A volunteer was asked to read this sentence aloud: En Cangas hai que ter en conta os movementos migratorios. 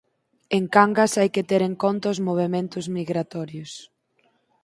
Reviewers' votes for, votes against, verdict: 4, 0, accepted